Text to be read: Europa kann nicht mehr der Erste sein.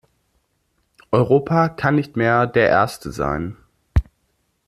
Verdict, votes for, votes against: accepted, 2, 0